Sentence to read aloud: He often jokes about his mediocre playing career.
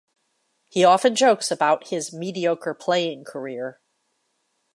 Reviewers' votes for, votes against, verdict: 2, 0, accepted